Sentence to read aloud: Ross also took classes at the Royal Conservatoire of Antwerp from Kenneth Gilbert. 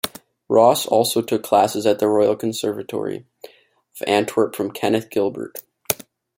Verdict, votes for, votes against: rejected, 1, 2